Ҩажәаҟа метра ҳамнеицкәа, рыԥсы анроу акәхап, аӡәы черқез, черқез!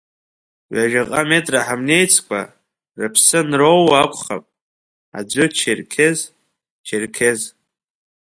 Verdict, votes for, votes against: rejected, 1, 2